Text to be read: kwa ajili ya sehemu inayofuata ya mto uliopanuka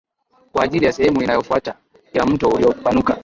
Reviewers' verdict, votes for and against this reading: rejected, 1, 2